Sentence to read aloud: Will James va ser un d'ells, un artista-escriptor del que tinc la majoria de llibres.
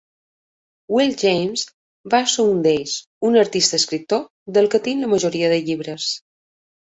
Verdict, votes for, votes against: accepted, 2, 0